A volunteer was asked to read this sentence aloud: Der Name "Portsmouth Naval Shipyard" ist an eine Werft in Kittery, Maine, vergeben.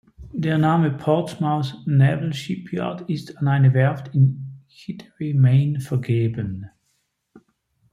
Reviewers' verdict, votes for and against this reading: rejected, 1, 2